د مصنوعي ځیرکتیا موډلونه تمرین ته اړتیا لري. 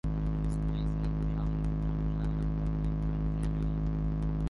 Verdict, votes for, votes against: rejected, 0, 2